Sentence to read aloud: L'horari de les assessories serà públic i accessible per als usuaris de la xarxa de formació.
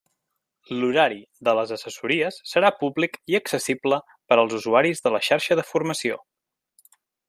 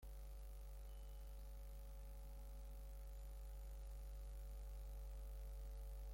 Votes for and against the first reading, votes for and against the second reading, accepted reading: 3, 0, 0, 2, first